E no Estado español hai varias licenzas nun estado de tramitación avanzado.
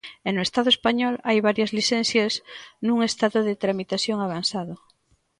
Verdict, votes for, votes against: rejected, 0, 2